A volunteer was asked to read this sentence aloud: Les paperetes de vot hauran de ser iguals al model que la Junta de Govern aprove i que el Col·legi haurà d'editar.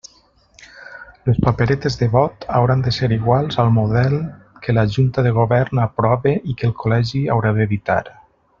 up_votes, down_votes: 1, 2